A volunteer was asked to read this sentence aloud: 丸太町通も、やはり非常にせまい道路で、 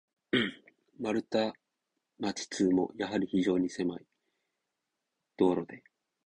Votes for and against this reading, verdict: 2, 2, rejected